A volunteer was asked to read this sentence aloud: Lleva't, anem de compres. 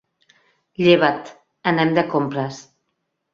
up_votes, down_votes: 4, 0